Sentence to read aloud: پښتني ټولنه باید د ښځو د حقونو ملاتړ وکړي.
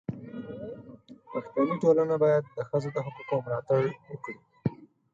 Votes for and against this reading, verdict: 4, 0, accepted